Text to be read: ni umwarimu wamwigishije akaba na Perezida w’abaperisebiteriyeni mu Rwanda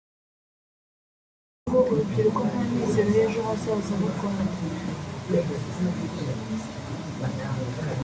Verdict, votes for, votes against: rejected, 0, 2